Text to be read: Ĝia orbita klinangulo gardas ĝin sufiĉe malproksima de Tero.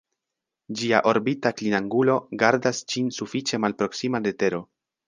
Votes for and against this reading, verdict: 3, 0, accepted